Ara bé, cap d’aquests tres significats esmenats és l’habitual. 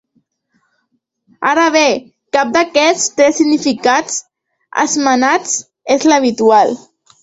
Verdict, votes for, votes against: accepted, 2, 1